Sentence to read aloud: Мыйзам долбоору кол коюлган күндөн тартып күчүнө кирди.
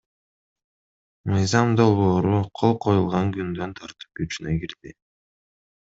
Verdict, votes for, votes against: accepted, 2, 0